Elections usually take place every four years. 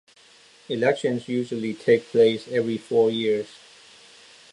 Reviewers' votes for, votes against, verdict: 2, 0, accepted